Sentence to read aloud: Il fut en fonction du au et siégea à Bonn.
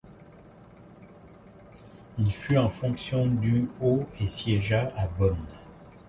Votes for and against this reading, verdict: 0, 2, rejected